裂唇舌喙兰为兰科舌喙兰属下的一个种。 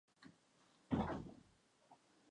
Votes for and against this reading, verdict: 1, 5, rejected